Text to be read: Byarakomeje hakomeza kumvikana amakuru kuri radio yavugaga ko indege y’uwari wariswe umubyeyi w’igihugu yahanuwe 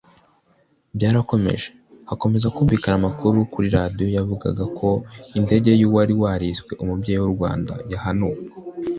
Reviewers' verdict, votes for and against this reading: rejected, 0, 2